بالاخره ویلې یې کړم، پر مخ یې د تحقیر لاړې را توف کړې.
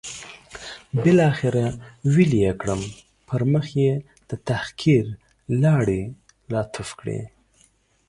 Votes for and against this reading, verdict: 2, 0, accepted